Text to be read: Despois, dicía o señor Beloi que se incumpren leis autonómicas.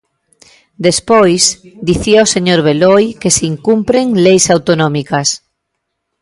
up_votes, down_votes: 2, 0